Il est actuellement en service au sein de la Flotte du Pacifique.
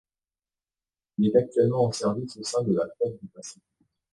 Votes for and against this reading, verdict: 1, 2, rejected